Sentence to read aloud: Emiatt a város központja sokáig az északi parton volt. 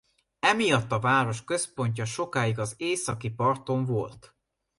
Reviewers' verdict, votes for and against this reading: accepted, 2, 0